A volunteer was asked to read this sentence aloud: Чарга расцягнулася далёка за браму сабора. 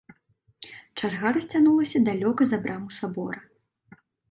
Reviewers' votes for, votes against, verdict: 0, 2, rejected